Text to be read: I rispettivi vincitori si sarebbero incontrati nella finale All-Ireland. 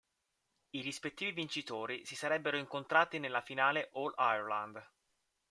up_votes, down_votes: 2, 0